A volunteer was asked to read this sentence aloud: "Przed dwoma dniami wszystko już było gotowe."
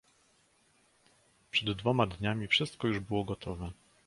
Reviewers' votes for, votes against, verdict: 2, 1, accepted